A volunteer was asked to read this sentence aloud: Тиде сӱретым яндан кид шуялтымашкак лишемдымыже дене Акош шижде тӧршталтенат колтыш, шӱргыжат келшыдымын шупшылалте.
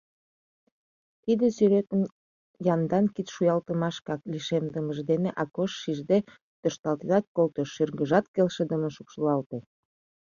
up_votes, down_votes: 2, 0